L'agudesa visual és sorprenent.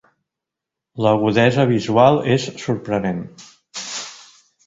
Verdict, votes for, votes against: accepted, 2, 1